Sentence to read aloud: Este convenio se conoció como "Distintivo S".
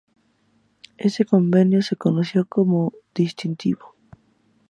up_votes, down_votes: 0, 2